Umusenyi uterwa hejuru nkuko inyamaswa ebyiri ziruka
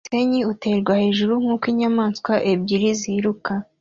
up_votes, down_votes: 2, 0